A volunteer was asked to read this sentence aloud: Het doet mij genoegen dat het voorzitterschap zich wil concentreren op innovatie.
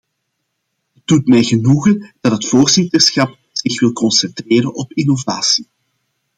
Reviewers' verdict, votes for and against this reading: accepted, 2, 1